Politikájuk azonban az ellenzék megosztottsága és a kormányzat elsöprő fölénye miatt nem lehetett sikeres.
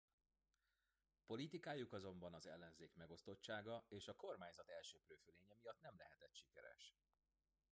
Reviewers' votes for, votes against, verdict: 0, 2, rejected